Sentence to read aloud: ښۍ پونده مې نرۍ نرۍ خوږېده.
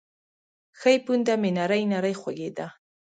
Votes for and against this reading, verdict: 1, 2, rejected